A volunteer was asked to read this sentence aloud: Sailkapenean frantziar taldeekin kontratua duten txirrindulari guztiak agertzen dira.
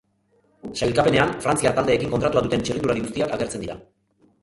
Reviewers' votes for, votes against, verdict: 0, 2, rejected